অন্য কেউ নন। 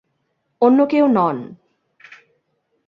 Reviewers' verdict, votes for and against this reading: accepted, 2, 0